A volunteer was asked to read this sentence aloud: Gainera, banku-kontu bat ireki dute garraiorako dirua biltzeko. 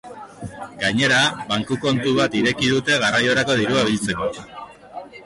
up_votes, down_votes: 2, 1